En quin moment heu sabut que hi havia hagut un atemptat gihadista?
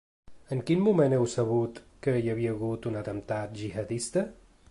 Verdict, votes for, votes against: accepted, 2, 0